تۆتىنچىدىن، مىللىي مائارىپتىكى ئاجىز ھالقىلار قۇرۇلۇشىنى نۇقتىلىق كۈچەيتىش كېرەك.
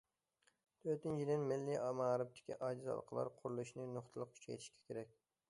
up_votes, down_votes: 0, 2